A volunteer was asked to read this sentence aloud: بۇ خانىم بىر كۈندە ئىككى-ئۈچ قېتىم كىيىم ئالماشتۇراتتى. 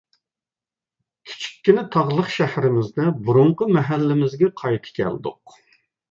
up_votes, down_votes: 0, 2